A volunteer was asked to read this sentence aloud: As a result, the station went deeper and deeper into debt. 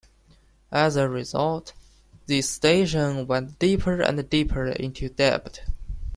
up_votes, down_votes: 1, 2